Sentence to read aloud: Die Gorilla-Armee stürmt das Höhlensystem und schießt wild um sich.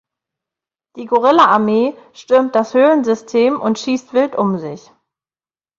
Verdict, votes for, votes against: accepted, 2, 1